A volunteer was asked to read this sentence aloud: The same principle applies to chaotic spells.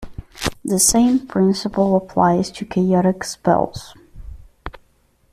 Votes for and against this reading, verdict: 2, 0, accepted